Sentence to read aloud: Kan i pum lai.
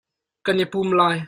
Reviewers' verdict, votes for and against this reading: accepted, 2, 0